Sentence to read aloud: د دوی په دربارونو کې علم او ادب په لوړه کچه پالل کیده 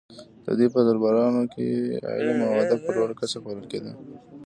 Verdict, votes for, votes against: rejected, 1, 2